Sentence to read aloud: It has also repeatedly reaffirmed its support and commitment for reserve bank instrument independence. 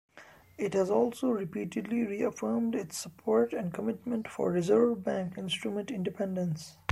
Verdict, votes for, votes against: accepted, 2, 0